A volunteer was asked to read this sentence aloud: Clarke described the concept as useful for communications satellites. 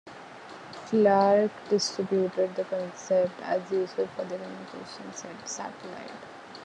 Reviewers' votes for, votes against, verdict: 1, 3, rejected